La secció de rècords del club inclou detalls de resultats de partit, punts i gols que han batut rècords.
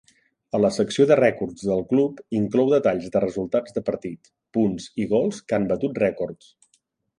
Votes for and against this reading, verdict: 2, 0, accepted